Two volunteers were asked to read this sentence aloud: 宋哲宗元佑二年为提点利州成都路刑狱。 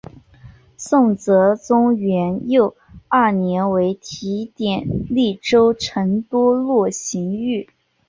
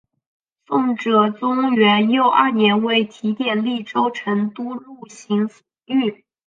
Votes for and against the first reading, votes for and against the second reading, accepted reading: 3, 2, 1, 3, first